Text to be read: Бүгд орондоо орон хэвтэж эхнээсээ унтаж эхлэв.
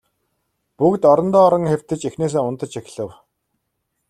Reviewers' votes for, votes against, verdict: 2, 1, accepted